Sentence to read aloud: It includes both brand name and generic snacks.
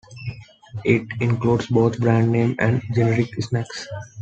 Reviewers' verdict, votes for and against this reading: rejected, 1, 2